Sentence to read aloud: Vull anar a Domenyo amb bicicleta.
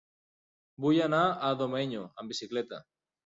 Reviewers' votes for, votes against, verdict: 3, 0, accepted